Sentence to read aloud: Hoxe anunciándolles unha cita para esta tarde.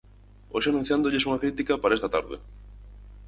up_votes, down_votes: 0, 4